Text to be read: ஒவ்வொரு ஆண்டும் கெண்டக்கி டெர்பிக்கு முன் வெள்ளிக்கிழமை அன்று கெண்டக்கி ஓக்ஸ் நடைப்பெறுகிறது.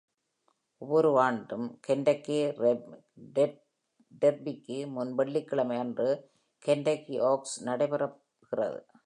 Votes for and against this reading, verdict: 0, 2, rejected